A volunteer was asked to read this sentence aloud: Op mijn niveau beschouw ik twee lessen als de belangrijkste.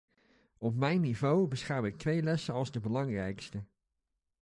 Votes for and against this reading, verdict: 2, 0, accepted